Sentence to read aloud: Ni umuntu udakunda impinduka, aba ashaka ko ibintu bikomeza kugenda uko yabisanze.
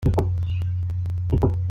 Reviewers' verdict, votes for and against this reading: rejected, 0, 2